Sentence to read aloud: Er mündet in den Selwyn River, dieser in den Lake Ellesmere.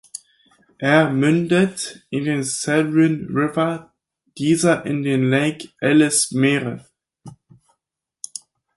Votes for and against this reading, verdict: 2, 4, rejected